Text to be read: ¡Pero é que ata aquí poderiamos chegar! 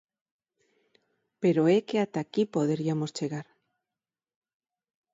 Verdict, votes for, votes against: accepted, 4, 0